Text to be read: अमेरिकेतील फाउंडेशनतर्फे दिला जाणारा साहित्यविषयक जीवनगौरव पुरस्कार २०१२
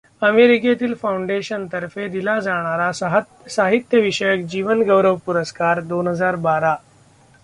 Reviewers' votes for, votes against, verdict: 0, 2, rejected